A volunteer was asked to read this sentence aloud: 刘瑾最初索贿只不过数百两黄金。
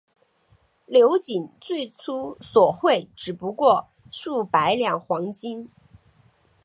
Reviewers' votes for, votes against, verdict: 2, 0, accepted